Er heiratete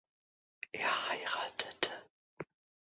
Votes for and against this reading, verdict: 2, 0, accepted